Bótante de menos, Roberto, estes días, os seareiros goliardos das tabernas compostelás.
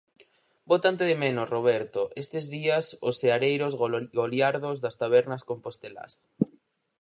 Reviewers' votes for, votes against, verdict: 0, 4, rejected